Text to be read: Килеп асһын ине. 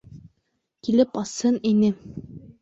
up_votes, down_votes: 2, 0